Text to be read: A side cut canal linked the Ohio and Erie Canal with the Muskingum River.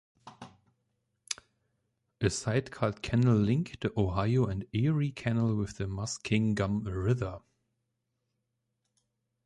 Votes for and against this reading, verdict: 2, 0, accepted